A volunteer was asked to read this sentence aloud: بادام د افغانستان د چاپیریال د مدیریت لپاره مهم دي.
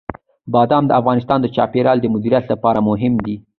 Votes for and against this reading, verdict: 2, 0, accepted